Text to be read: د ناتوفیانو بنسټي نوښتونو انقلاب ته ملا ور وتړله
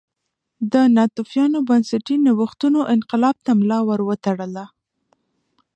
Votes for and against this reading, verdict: 1, 2, rejected